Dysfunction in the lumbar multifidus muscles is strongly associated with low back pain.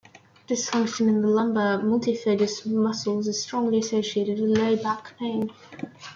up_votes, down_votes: 1, 2